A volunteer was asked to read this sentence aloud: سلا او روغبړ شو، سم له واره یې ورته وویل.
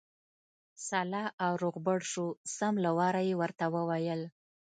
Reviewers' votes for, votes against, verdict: 2, 0, accepted